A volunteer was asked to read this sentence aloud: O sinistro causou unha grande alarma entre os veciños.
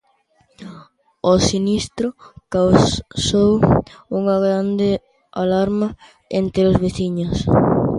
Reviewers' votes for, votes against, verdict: 0, 2, rejected